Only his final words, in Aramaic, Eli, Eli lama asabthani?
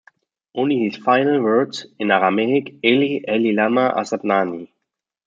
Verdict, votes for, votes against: accepted, 2, 0